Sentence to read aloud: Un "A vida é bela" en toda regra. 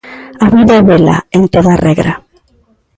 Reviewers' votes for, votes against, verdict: 0, 3, rejected